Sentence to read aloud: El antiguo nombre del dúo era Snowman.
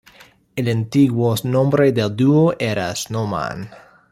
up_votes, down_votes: 2, 1